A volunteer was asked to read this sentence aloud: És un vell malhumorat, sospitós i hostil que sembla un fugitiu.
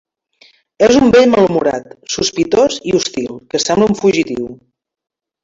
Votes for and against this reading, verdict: 1, 2, rejected